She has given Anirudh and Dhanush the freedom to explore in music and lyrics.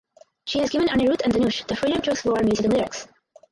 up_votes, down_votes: 0, 4